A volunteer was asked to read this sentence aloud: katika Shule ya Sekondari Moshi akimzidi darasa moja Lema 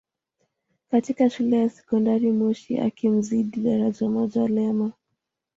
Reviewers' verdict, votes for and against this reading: rejected, 1, 2